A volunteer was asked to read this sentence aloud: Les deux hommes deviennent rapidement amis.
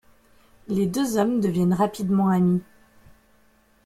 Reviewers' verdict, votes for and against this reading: accepted, 2, 1